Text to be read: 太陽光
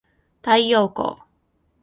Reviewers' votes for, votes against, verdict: 2, 0, accepted